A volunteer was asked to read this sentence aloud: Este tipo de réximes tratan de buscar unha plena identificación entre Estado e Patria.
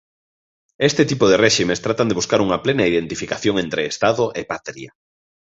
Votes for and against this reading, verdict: 1, 2, rejected